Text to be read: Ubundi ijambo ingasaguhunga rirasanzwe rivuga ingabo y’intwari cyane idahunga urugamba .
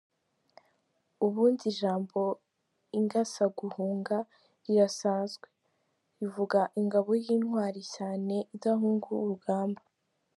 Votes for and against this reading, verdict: 3, 0, accepted